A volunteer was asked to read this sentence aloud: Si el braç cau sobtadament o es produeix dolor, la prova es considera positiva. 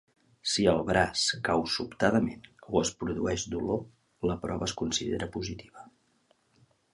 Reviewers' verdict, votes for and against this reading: accepted, 3, 0